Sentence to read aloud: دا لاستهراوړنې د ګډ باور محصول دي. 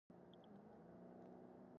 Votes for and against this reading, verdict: 1, 2, rejected